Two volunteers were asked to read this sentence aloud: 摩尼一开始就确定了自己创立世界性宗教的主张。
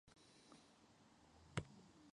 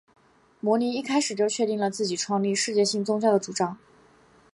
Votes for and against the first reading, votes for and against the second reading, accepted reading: 0, 3, 2, 0, second